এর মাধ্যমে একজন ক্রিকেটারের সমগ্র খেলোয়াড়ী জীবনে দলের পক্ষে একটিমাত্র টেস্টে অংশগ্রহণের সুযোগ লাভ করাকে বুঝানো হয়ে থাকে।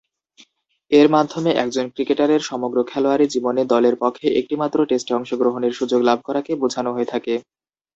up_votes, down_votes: 0, 2